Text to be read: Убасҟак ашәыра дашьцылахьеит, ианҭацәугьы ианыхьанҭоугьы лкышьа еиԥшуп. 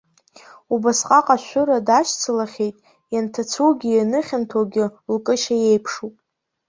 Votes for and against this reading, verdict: 2, 0, accepted